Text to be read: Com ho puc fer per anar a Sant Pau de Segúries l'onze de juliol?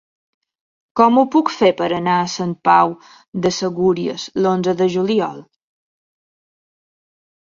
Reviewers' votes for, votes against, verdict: 5, 0, accepted